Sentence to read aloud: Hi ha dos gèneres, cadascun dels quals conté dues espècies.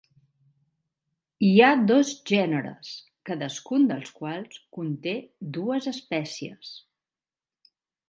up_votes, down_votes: 4, 0